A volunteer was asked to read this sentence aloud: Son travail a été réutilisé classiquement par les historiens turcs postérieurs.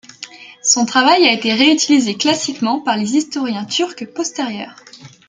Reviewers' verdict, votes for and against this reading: accepted, 2, 0